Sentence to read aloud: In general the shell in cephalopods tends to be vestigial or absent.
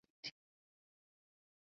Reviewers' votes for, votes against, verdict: 0, 2, rejected